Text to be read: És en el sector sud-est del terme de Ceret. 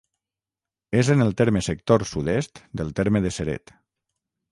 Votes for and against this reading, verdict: 0, 6, rejected